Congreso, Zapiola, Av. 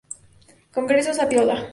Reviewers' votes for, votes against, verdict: 0, 2, rejected